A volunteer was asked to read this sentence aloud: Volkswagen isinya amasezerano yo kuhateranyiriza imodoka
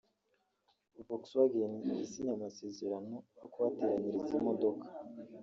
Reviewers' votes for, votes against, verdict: 1, 2, rejected